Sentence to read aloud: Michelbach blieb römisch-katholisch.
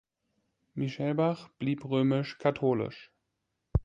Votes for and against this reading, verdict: 2, 0, accepted